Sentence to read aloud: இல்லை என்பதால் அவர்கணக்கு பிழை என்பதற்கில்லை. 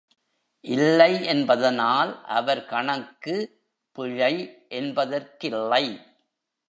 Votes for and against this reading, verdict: 1, 2, rejected